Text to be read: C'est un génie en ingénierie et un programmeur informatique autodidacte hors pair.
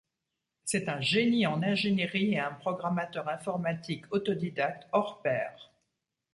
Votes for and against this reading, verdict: 0, 2, rejected